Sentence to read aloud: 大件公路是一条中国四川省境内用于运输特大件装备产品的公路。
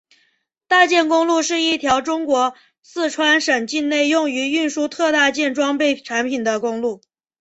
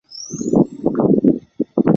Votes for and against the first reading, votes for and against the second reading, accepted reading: 2, 0, 1, 3, first